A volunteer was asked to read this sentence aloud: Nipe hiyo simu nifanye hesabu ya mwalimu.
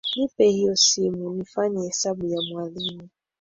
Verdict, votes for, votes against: accepted, 2, 1